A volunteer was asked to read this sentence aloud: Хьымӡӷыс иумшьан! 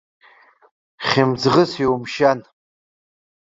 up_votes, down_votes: 1, 2